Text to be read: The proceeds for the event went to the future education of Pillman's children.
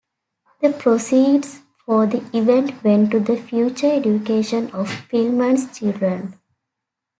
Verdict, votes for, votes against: accepted, 2, 0